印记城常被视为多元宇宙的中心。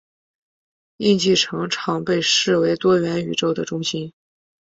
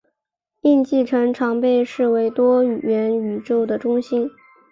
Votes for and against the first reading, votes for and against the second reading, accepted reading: 2, 0, 1, 2, first